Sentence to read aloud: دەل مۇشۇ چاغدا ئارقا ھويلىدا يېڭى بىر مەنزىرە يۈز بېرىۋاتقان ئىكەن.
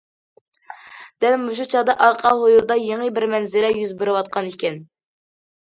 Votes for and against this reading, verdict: 2, 0, accepted